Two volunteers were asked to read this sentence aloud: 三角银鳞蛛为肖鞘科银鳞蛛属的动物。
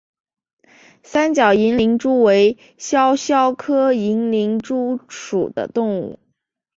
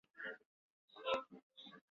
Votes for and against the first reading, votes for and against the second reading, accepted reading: 2, 0, 0, 5, first